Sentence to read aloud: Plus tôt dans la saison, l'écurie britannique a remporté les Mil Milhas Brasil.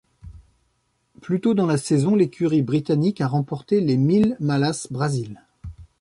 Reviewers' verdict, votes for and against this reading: rejected, 1, 2